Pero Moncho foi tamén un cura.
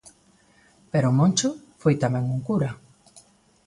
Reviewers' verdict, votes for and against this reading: accepted, 2, 0